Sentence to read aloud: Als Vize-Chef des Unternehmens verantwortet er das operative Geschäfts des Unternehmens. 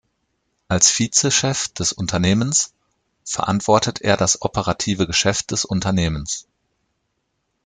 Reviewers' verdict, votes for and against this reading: accepted, 2, 0